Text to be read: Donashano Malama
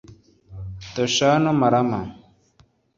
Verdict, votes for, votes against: accepted, 2, 0